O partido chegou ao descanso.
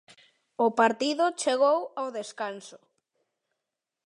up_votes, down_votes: 2, 0